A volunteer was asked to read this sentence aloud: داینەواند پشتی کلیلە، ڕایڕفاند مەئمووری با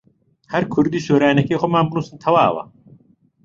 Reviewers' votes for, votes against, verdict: 0, 2, rejected